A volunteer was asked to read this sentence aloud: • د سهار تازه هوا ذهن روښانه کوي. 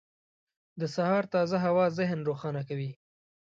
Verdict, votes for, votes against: accepted, 2, 0